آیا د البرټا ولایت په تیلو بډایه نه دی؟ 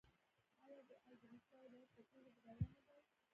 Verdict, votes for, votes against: rejected, 0, 2